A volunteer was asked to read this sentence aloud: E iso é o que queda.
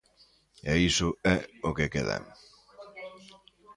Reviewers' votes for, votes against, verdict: 2, 0, accepted